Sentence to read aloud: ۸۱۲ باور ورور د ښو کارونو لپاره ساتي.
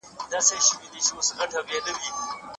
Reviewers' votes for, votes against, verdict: 0, 2, rejected